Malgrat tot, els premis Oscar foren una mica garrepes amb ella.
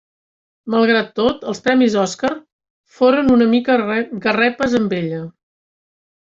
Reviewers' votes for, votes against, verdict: 0, 2, rejected